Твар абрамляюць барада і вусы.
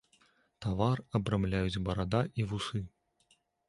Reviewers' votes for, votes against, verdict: 1, 2, rejected